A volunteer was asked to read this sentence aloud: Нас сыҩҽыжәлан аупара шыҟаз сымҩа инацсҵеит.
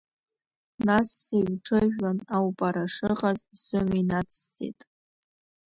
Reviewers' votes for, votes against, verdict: 2, 0, accepted